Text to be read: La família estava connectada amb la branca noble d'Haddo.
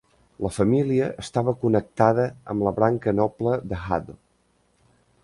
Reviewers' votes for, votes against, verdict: 0, 2, rejected